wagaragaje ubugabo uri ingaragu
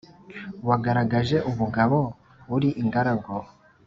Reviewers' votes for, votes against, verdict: 3, 1, accepted